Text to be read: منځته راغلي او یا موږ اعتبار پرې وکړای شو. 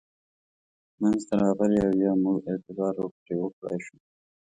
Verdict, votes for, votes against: rejected, 0, 2